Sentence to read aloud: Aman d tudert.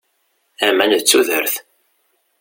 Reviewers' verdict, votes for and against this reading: accepted, 2, 0